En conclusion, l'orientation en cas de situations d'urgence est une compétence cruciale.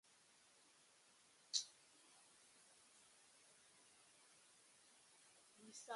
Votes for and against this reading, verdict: 0, 2, rejected